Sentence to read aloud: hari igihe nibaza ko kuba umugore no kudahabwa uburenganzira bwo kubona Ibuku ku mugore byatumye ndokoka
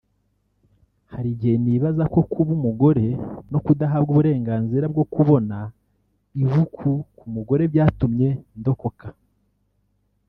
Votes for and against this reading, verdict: 1, 2, rejected